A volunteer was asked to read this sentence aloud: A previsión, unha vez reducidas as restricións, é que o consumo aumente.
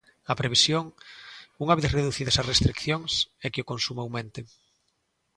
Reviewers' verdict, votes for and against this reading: rejected, 1, 2